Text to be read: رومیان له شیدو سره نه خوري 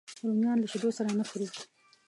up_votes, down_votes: 1, 2